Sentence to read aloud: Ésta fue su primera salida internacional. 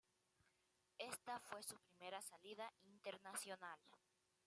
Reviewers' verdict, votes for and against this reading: accepted, 2, 1